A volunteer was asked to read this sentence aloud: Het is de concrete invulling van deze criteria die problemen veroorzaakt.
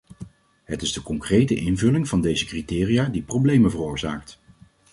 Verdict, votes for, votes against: accepted, 2, 0